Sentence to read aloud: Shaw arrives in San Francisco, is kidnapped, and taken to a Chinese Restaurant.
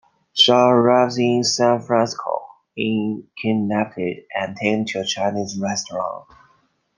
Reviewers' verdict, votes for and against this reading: rejected, 0, 2